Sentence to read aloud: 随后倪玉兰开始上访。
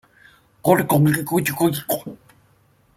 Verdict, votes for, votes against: rejected, 0, 2